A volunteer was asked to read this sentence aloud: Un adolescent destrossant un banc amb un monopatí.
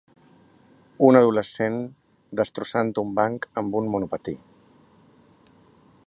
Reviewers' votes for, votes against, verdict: 3, 0, accepted